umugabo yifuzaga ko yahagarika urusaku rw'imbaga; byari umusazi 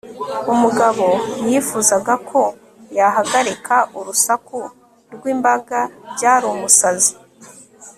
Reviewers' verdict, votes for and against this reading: accepted, 3, 0